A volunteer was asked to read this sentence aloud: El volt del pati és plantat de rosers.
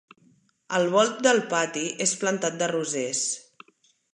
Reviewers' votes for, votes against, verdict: 3, 0, accepted